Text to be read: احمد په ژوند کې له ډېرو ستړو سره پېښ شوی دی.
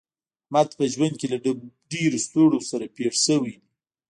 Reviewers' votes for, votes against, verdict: 0, 2, rejected